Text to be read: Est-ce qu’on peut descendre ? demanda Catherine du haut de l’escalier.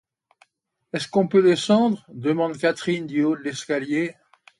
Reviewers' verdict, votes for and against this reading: rejected, 0, 2